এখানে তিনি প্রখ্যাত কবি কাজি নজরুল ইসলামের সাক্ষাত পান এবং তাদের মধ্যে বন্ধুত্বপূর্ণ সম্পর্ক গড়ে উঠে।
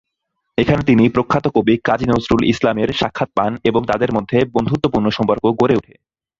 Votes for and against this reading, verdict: 3, 3, rejected